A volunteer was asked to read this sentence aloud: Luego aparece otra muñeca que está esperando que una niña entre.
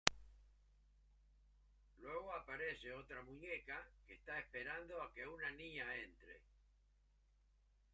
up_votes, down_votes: 0, 2